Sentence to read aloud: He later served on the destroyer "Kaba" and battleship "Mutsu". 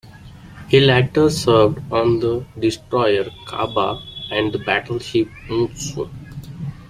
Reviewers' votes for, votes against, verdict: 2, 1, accepted